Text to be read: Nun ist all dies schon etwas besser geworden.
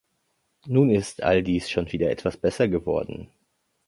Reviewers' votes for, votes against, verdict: 0, 2, rejected